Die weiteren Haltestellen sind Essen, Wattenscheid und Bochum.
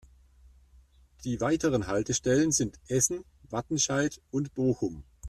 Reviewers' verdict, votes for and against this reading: accepted, 2, 0